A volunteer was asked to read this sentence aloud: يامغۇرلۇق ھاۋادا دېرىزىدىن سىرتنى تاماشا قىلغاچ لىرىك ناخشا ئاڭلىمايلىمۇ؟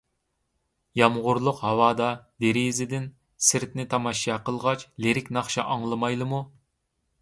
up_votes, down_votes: 2, 0